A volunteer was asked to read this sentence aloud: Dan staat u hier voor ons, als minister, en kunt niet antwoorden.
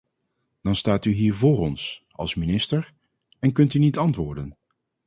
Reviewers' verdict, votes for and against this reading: rejected, 0, 4